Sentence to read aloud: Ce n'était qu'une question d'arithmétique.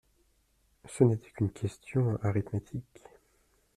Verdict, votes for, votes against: accepted, 2, 0